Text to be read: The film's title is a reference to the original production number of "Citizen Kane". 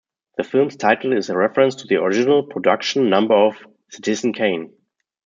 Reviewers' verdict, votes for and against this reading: accepted, 2, 0